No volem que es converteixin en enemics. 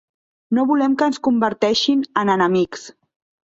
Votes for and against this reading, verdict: 1, 2, rejected